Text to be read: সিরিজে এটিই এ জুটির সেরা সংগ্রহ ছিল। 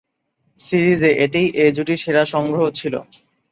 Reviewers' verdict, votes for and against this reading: accepted, 2, 1